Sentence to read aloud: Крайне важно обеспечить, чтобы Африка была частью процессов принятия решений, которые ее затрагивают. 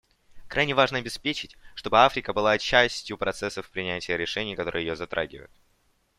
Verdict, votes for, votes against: accepted, 2, 0